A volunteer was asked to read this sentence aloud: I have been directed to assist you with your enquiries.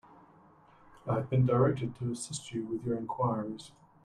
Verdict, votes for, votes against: accepted, 2, 1